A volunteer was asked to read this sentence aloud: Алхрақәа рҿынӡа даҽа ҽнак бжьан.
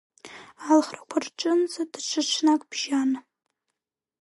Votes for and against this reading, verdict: 0, 2, rejected